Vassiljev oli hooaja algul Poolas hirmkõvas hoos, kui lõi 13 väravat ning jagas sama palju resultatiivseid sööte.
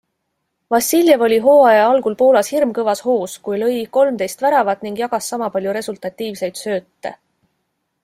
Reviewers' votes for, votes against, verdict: 0, 2, rejected